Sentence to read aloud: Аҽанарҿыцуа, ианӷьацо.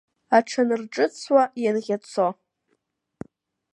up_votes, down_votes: 2, 0